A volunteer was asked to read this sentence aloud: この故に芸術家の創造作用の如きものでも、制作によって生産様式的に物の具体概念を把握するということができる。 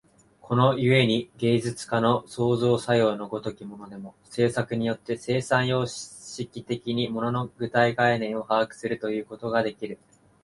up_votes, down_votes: 0, 2